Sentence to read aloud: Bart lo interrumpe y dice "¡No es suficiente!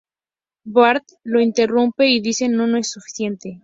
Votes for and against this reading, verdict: 0, 2, rejected